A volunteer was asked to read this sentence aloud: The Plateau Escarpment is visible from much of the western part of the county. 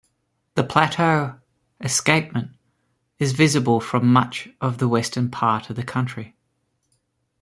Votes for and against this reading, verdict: 1, 2, rejected